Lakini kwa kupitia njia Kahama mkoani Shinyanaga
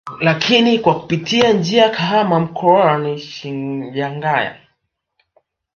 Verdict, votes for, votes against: rejected, 0, 3